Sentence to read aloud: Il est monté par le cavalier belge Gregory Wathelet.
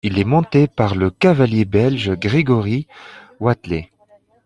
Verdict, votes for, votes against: accepted, 2, 0